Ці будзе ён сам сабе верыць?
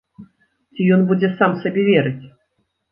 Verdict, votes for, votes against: rejected, 1, 2